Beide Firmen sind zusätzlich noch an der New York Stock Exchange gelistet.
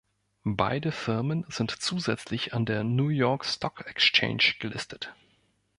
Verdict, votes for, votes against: rejected, 0, 2